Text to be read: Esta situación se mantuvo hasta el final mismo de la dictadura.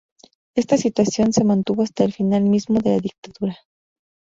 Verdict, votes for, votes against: accepted, 2, 0